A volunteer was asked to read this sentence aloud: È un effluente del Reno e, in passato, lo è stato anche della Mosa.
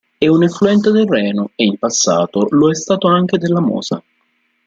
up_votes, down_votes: 2, 0